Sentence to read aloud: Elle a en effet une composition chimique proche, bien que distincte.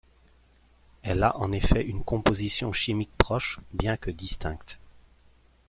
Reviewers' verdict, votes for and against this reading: accepted, 2, 0